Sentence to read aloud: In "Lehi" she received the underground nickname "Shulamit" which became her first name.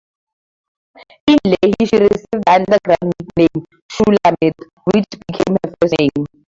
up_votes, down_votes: 4, 2